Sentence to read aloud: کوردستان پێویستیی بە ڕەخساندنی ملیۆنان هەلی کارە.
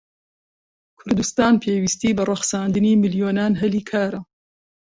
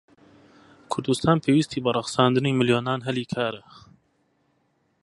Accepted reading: first